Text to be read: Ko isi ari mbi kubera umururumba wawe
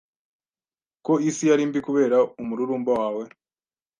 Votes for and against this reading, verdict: 2, 0, accepted